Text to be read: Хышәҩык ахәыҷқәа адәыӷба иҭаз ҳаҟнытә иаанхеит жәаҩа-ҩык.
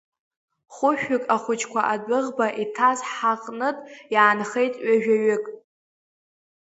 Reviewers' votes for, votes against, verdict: 3, 1, accepted